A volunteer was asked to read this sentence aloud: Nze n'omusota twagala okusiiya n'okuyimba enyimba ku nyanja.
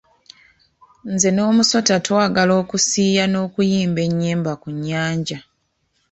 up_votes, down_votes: 2, 0